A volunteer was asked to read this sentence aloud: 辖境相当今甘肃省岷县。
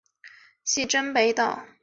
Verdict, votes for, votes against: rejected, 0, 2